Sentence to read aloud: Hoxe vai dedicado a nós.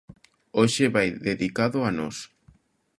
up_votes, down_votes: 2, 0